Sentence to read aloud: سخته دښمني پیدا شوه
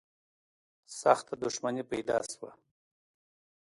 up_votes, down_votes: 2, 0